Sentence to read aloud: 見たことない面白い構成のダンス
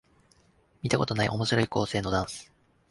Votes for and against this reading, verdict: 2, 1, accepted